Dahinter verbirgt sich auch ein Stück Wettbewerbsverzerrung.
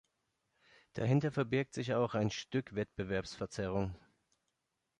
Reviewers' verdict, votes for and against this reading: accepted, 2, 0